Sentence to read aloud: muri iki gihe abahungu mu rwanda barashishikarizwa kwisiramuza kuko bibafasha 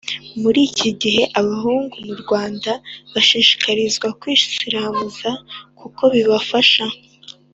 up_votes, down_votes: 2, 0